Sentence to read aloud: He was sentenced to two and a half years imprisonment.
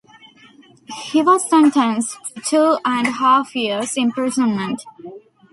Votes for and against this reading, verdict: 1, 2, rejected